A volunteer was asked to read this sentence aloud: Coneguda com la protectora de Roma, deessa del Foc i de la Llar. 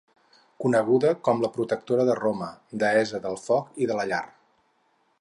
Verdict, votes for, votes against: accepted, 4, 0